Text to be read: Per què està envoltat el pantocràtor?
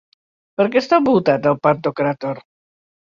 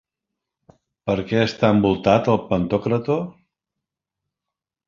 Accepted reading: first